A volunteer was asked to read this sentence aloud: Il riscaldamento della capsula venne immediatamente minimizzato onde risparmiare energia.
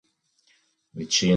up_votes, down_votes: 0, 3